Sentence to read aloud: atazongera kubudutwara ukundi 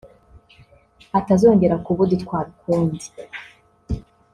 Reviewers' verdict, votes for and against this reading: rejected, 0, 2